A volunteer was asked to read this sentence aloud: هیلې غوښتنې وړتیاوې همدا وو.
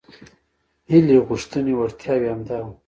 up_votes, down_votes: 0, 2